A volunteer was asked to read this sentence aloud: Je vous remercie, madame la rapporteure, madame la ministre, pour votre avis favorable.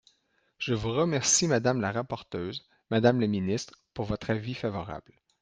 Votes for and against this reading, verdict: 1, 2, rejected